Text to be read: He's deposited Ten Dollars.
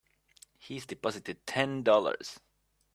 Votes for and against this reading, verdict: 3, 0, accepted